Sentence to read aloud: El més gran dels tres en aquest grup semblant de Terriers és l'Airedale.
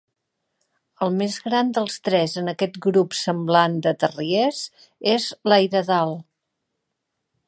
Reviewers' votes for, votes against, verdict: 2, 0, accepted